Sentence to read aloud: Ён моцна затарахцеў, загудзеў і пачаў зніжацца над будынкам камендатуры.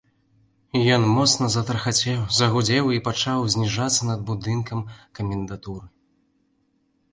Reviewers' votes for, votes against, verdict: 0, 2, rejected